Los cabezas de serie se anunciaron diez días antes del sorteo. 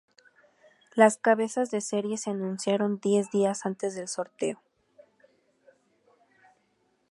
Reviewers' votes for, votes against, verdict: 0, 2, rejected